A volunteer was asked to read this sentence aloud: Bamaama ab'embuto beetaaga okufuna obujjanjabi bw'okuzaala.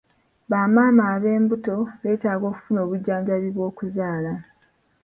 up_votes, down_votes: 2, 0